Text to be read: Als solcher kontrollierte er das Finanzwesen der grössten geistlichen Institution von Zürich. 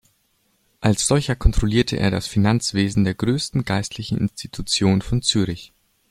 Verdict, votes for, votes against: rejected, 1, 2